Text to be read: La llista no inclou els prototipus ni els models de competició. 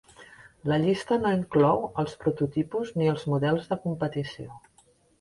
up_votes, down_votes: 2, 0